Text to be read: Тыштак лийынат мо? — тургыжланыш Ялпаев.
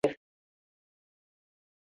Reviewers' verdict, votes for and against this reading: rejected, 0, 2